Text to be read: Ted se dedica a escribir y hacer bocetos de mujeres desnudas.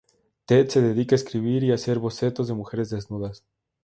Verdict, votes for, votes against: accepted, 2, 0